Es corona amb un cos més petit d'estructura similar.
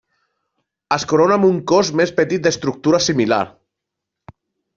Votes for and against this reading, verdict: 3, 0, accepted